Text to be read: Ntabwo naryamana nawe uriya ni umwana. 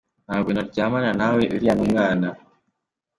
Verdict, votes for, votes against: accepted, 2, 1